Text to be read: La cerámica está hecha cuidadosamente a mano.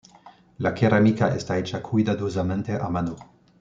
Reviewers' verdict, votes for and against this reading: accepted, 2, 0